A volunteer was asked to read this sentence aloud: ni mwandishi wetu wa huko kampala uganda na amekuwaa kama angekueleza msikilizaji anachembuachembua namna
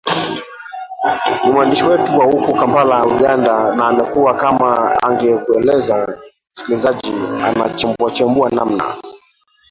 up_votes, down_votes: 1, 2